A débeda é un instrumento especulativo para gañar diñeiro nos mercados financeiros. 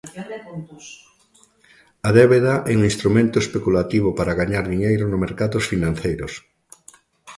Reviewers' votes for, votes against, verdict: 0, 3, rejected